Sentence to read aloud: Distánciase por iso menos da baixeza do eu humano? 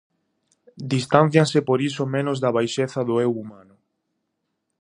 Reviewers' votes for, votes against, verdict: 0, 2, rejected